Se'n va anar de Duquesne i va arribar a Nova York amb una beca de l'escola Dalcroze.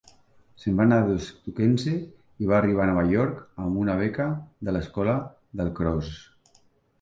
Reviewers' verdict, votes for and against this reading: rejected, 1, 2